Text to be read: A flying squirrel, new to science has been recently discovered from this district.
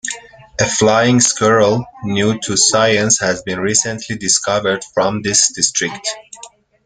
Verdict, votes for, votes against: accepted, 2, 1